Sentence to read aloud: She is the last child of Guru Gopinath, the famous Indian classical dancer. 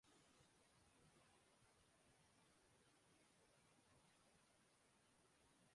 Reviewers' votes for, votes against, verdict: 0, 2, rejected